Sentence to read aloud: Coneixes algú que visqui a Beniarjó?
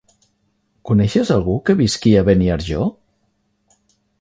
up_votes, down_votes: 3, 0